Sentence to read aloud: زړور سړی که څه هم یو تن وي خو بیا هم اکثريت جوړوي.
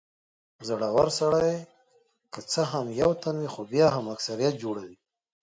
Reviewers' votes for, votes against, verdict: 2, 0, accepted